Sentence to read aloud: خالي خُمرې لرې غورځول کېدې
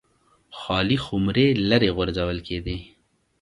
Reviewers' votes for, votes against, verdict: 2, 0, accepted